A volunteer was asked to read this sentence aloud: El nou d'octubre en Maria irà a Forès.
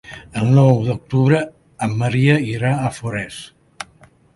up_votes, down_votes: 3, 0